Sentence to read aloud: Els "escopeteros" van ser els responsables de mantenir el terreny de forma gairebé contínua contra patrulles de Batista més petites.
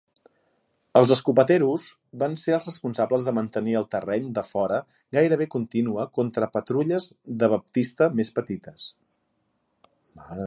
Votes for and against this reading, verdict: 0, 4, rejected